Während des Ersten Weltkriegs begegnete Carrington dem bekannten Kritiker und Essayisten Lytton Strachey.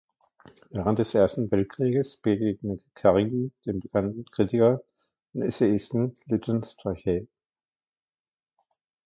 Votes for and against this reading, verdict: 0, 2, rejected